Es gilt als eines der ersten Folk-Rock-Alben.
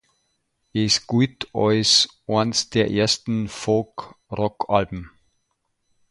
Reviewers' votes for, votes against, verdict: 2, 1, accepted